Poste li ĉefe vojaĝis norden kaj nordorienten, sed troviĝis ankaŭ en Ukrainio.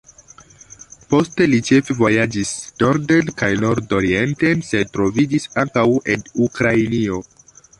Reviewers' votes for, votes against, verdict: 2, 0, accepted